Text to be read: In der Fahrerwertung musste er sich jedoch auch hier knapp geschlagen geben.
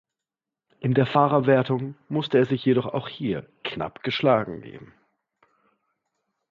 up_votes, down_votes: 2, 0